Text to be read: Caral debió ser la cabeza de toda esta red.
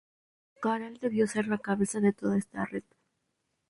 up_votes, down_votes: 2, 0